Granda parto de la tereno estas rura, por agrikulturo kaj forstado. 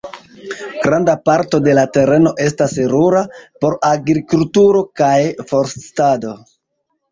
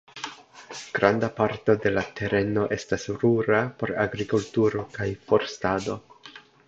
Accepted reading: second